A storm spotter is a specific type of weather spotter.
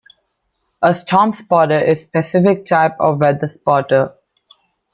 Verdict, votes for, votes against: rejected, 1, 2